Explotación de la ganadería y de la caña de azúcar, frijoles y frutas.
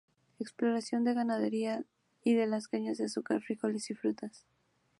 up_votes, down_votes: 0, 2